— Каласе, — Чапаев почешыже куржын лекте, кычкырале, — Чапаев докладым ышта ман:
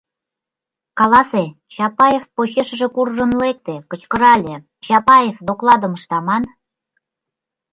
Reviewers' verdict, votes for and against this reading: accepted, 2, 0